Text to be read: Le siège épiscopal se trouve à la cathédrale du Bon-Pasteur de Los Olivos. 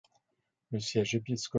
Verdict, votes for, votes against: rejected, 0, 2